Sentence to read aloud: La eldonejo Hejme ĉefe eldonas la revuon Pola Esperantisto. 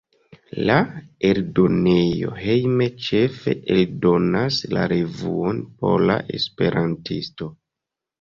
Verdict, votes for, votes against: rejected, 1, 2